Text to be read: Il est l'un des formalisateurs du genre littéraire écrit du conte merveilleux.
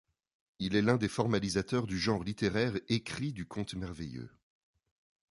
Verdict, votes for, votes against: accepted, 2, 0